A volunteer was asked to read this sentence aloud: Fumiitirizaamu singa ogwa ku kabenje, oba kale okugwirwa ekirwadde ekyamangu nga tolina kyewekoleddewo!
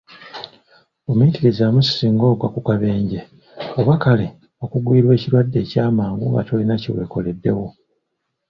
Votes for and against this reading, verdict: 2, 0, accepted